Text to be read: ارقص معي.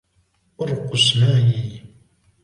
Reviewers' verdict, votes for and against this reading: accepted, 2, 0